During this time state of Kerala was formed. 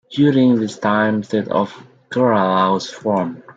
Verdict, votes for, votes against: accepted, 2, 1